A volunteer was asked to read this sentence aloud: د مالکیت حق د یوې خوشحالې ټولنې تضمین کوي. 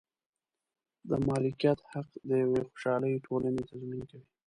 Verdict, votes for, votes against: rejected, 1, 2